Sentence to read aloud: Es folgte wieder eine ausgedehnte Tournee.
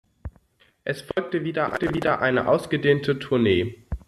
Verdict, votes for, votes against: rejected, 0, 2